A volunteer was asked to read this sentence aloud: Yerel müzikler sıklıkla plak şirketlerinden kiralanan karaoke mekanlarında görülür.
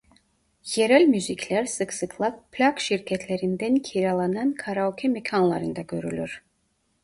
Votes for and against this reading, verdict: 1, 2, rejected